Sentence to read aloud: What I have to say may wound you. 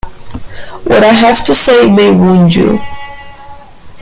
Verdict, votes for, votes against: rejected, 1, 2